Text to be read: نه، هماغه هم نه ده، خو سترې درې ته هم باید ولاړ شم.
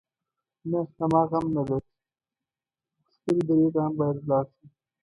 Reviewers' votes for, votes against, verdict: 0, 2, rejected